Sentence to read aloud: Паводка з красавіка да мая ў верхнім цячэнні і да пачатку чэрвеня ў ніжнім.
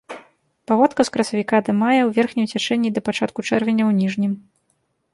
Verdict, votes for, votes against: accepted, 2, 0